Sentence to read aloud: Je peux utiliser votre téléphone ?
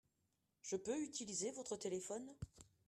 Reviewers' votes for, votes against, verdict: 1, 2, rejected